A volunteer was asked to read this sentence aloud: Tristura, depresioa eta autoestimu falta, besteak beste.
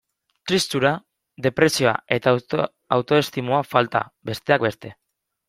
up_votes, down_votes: 0, 2